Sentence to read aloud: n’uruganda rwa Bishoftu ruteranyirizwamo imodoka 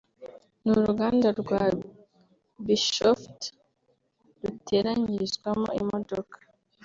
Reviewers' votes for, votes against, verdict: 2, 0, accepted